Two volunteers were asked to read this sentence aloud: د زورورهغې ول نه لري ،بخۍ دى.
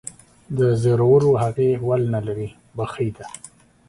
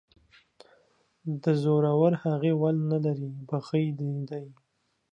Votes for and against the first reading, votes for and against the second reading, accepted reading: 2, 1, 0, 2, first